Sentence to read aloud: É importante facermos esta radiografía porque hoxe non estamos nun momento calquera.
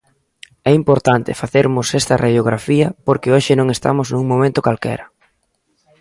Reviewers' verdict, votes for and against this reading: accepted, 2, 0